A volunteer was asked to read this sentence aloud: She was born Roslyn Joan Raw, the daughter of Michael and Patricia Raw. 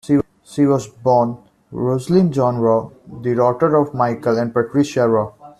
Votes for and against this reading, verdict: 0, 2, rejected